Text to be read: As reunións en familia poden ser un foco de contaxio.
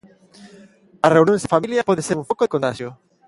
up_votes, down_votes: 1, 2